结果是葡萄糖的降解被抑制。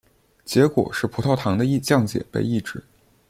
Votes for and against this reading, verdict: 1, 2, rejected